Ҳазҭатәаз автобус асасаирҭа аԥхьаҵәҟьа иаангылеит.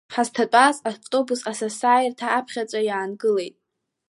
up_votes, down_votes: 1, 2